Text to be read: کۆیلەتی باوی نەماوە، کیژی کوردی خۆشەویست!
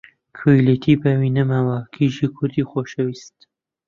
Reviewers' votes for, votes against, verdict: 2, 0, accepted